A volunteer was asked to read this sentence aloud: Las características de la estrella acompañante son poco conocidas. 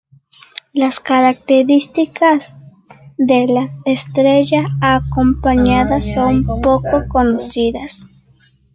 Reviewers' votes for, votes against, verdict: 2, 1, accepted